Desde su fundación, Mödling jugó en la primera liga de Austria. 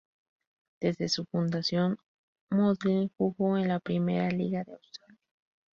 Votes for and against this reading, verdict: 0, 2, rejected